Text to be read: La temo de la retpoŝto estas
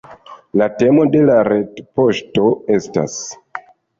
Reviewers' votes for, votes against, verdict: 1, 2, rejected